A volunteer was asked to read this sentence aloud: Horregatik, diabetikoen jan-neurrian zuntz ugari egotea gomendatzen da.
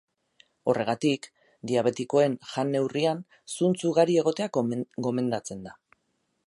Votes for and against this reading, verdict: 4, 4, rejected